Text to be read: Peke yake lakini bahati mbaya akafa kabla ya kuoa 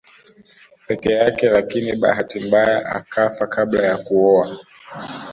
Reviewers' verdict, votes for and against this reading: accepted, 2, 0